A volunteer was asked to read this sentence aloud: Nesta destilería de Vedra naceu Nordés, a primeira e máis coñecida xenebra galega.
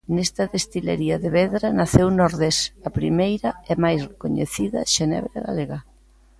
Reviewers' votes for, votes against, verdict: 1, 2, rejected